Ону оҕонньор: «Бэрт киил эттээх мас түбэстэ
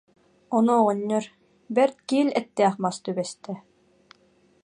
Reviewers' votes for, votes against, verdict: 2, 0, accepted